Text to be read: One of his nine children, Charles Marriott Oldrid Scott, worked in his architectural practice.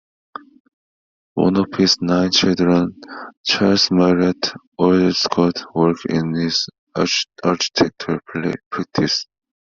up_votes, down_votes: 0, 2